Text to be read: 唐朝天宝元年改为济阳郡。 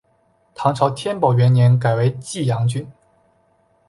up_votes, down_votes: 5, 0